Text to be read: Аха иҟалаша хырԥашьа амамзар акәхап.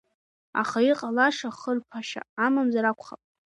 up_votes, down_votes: 3, 0